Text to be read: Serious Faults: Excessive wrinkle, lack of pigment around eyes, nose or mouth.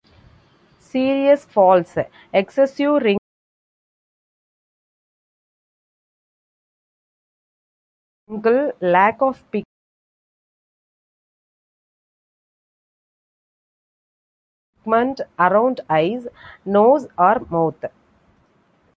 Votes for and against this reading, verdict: 1, 2, rejected